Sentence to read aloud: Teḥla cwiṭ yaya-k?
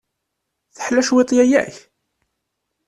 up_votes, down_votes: 2, 0